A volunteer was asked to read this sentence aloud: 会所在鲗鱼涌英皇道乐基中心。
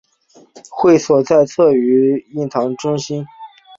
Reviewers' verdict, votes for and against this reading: accepted, 2, 0